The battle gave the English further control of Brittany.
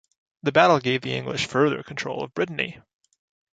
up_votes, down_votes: 2, 0